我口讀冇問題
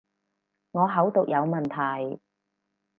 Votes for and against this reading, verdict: 2, 2, rejected